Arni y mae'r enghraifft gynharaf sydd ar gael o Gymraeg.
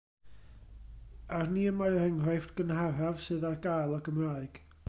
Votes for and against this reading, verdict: 2, 0, accepted